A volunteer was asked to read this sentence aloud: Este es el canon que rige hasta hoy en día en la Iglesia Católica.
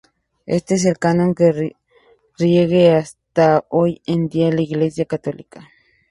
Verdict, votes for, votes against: rejected, 0, 2